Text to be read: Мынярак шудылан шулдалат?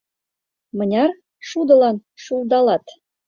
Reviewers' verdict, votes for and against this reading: rejected, 1, 2